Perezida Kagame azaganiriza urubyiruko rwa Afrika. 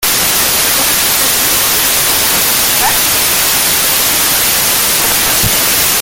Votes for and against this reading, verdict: 0, 2, rejected